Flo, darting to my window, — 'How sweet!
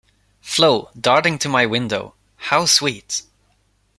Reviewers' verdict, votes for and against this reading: accepted, 2, 0